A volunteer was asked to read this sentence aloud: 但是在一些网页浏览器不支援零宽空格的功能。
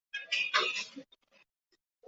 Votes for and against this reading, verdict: 0, 2, rejected